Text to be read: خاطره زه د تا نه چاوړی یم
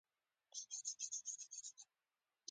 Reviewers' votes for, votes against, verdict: 0, 2, rejected